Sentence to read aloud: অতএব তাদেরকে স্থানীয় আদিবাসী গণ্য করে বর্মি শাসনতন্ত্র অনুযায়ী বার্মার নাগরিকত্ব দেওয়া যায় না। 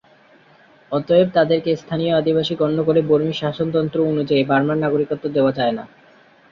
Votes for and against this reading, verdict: 4, 0, accepted